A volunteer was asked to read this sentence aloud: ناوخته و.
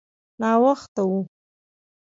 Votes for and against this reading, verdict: 2, 0, accepted